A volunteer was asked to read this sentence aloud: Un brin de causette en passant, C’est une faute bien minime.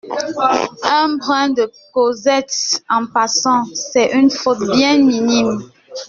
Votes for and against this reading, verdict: 1, 2, rejected